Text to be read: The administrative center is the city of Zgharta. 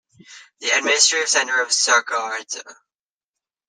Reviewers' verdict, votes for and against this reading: rejected, 0, 2